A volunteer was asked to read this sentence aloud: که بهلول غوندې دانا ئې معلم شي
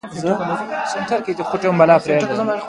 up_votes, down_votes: 1, 2